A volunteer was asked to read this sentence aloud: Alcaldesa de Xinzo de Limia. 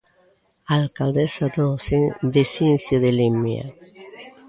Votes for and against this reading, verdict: 0, 2, rejected